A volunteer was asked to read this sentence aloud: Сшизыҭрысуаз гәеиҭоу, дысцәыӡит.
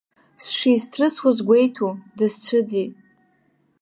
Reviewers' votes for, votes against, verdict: 0, 2, rejected